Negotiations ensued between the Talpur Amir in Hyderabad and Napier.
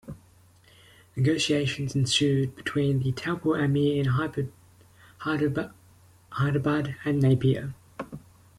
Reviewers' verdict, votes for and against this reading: rejected, 0, 2